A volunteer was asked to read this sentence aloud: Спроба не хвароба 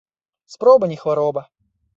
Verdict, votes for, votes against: accepted, 2, 0